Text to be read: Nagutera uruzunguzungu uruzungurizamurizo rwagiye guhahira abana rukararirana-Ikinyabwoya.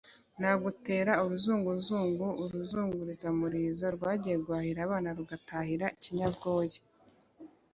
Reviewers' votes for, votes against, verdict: 1, 2, rejected